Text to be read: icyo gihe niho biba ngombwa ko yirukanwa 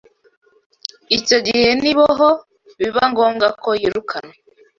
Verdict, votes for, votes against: rejected, 1, 2